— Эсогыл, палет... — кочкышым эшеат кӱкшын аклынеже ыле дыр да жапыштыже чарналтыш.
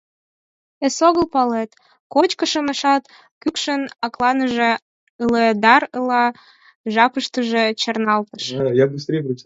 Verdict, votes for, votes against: rejected, 0, 4